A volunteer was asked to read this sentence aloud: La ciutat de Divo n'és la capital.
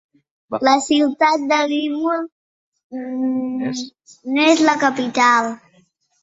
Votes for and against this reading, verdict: 1, 2, rejected